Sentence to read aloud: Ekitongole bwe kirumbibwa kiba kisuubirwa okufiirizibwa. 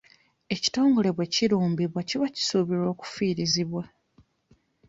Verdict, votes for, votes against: accepted, 2, 1